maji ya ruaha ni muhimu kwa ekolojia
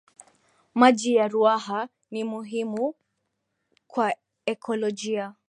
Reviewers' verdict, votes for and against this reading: accepted, 2, 0